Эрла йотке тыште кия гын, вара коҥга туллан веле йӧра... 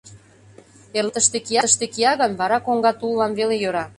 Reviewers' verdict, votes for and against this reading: rejected, 0, 2